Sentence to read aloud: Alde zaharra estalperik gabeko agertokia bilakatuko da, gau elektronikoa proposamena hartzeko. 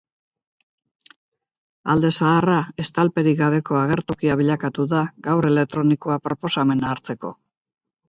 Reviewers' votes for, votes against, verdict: 4, 0, accepted